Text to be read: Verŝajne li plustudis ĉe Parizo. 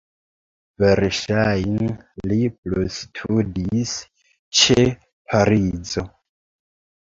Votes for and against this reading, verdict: 2, 1, accepted